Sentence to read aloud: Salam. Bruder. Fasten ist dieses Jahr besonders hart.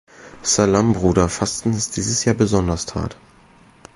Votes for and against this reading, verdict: 1, 2, rejected